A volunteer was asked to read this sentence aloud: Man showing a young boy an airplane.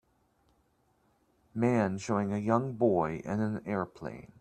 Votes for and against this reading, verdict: 0, 2, rejected